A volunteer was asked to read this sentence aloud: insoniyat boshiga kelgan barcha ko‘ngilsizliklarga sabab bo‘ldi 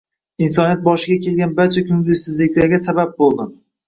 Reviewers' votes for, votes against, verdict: 1, 2, rejected